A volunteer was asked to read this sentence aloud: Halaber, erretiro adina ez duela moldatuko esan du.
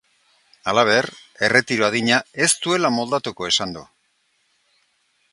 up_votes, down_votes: 2, 0